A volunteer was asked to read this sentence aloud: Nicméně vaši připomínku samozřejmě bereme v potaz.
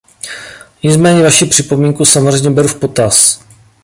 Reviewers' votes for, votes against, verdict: 1, 2, rejected